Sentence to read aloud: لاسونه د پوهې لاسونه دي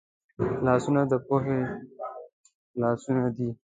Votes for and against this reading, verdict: 1, 2, rejected